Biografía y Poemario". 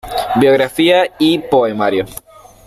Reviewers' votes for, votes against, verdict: 2, 0, accepted